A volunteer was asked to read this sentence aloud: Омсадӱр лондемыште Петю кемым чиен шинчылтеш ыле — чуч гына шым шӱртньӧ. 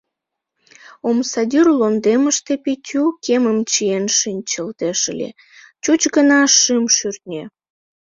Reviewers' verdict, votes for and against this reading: rejected, 1, 2